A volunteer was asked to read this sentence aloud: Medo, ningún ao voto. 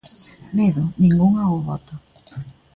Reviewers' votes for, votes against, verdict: 2, 0, accepted